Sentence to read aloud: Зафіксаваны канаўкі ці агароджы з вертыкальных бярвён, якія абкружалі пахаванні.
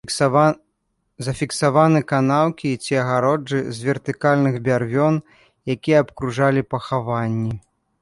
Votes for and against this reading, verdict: 0, 2, rejected